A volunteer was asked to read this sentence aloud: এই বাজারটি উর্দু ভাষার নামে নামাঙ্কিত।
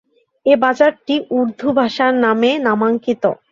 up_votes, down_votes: 2, 0